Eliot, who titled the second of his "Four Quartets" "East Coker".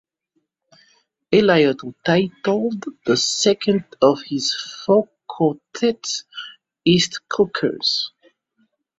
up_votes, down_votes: 1, 2